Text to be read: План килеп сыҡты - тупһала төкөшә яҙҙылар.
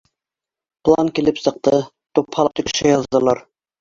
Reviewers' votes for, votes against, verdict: 0, 2, rejected